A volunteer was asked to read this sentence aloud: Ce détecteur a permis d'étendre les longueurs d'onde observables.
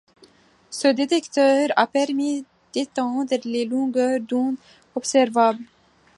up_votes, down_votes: 2, 0